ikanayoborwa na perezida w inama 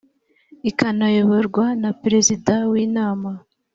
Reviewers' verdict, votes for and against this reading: accepted, 3, 0